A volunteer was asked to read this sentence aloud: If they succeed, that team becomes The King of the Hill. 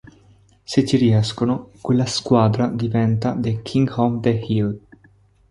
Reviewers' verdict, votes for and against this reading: rejected, 0, 2